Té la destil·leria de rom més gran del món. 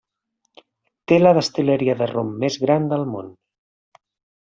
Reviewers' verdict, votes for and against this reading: accepted, 2, 0